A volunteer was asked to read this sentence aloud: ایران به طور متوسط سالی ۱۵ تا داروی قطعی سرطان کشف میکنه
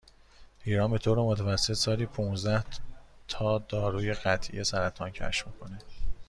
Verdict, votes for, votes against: rejected, 0, 2